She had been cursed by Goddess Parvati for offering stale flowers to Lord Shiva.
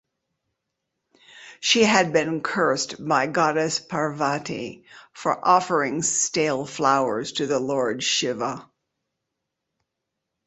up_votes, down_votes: 2, 1